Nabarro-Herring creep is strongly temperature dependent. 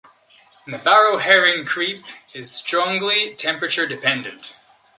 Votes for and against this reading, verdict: 2, 0, accepted